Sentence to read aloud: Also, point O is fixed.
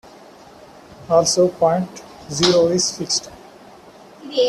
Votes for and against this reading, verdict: 0, 2, rejected